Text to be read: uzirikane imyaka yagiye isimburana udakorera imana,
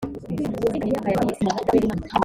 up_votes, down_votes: 0, 2